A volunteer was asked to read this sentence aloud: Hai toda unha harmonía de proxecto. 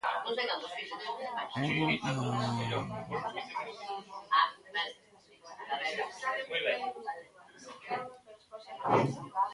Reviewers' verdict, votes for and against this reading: rejected, 0, 2